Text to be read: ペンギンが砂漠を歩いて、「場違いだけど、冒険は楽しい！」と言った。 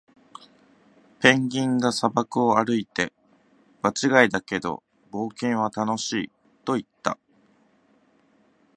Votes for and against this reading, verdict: 2, 0, accepted